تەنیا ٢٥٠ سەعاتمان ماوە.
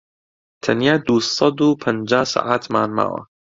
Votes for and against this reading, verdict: 0, 2, rejected